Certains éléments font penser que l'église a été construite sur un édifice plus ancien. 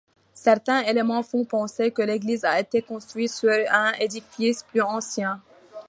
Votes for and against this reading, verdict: 1, 2, rejected